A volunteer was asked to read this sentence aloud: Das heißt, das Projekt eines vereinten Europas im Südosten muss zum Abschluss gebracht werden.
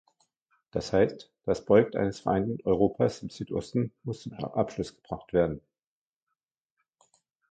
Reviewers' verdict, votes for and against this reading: rejected, 1, 2